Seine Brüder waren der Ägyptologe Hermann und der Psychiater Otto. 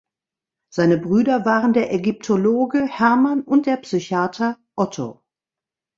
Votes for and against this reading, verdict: 3, 0, accepted